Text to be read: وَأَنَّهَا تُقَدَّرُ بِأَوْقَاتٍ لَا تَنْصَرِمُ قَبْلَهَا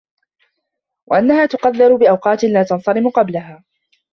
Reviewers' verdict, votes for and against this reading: rejected, 1, 2